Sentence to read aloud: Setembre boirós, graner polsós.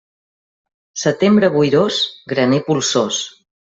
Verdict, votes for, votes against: accepted, 2, 0